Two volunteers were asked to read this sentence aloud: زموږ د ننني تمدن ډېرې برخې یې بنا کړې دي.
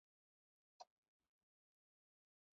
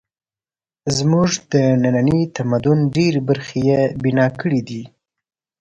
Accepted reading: second